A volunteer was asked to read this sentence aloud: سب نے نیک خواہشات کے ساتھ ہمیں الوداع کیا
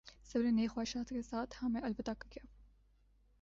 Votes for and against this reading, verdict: 2, 0, accepted